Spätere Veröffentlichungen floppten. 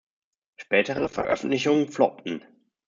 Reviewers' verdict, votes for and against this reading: accepted, 2, 1